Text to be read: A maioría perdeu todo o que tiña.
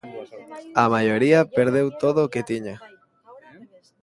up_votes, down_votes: 1, 2